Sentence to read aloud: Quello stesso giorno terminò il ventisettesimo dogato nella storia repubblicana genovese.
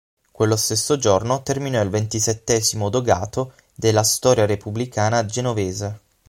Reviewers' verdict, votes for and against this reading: accepted, 6, 3